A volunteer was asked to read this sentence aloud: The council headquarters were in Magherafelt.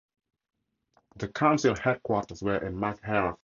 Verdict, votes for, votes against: rejected, 0, 2